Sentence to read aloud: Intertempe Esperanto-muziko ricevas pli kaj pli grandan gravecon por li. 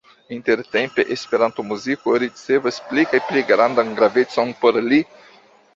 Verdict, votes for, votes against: accepted, 2, 0